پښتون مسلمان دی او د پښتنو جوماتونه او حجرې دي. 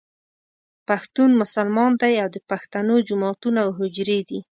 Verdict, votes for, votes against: accepted, 2, 0